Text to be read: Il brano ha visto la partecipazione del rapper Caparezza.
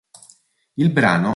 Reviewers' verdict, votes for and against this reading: rejected, 0, 2